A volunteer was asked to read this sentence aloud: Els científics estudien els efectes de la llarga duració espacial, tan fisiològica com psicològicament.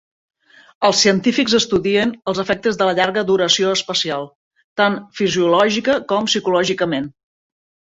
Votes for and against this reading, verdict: 2, 0, accepted